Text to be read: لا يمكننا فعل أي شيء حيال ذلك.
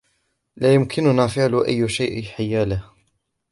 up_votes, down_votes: 0, 3